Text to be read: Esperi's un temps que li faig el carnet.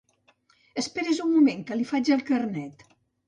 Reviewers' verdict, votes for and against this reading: rejected, 1, 2